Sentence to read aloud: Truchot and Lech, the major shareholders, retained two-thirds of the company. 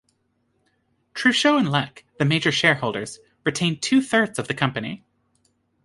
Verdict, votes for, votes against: accepted, 3, 0